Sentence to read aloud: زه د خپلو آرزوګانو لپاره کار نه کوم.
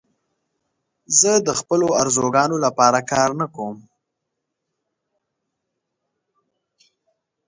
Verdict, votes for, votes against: accepted, 3, 0